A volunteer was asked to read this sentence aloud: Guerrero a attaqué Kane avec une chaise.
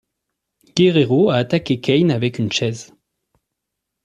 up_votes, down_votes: 2, 0